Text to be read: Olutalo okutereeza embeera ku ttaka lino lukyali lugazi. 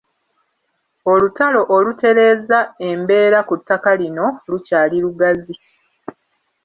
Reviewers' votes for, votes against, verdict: 3, 0, accepted